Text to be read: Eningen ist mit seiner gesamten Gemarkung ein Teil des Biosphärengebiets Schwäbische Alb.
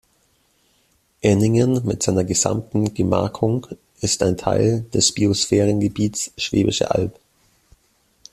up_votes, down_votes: 0, 2